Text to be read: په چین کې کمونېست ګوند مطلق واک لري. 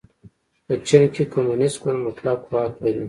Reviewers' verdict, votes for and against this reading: rejected, 1, 2